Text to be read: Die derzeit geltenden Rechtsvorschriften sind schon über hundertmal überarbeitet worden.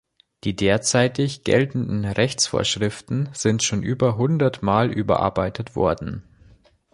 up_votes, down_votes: 0, 2